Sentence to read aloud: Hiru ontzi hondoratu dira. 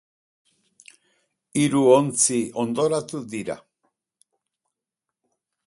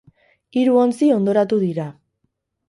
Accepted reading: first